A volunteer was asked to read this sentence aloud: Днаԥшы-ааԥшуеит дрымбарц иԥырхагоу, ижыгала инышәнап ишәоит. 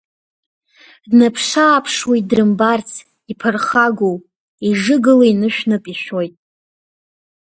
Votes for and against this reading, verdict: 1, 2, rejected